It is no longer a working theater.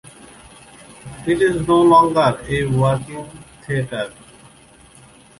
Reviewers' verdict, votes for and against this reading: accepted, 2, 0